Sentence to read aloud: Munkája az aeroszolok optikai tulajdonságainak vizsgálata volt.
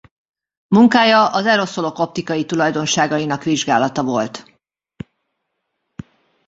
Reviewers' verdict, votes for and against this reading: accepted, 2, 0